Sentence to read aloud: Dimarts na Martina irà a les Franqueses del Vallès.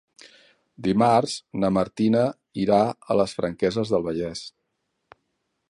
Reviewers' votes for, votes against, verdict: 3, 0, accepted